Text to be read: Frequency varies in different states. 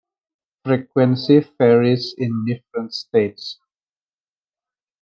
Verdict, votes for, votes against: accepted, 2, 1